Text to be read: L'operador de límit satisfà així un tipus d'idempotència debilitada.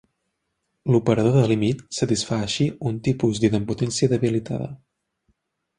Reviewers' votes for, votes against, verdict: 3, 0, accepted